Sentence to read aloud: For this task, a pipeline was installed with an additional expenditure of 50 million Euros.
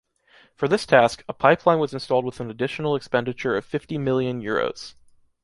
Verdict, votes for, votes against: rejected, 0, 2